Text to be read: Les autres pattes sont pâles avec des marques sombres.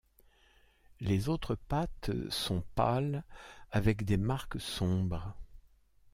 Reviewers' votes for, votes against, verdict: 2, 1, accepted